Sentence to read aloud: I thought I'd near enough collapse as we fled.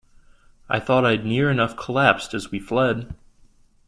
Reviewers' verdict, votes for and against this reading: accepted, 2, 1